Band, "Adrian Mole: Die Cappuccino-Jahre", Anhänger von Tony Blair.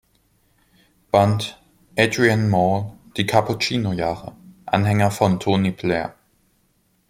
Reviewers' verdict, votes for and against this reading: accepted, 3, 0